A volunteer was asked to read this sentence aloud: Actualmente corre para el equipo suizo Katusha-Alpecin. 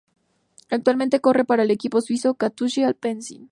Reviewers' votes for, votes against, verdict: 2, 0, accepted